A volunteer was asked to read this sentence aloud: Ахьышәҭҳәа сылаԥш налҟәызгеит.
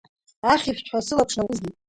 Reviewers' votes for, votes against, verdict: 1, 2, rejected